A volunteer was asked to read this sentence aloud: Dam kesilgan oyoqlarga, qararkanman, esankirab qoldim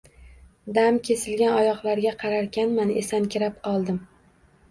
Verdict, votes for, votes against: rejected, 1, 2